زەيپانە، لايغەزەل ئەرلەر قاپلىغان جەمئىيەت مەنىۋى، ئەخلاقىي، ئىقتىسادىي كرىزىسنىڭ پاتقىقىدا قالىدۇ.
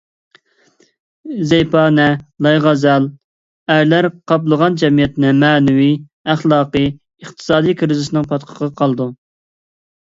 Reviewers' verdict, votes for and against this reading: rejected, 0, 2